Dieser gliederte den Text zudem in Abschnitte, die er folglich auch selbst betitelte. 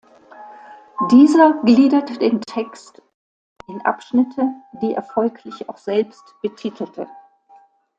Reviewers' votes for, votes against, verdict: 0, 2, rejected